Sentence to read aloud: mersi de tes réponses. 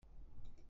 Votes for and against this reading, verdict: 0, 2, rejected